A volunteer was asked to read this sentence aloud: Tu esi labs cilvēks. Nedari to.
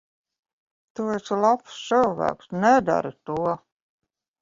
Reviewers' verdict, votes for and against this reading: rejected, 1, 2